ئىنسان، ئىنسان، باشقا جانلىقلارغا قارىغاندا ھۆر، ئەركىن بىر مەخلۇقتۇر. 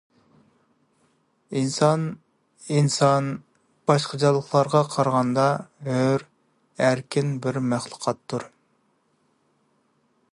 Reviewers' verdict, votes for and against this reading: rejected, 0, 2